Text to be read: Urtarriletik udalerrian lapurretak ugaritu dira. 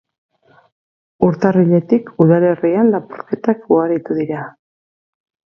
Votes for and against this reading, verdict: 4, 2, accepted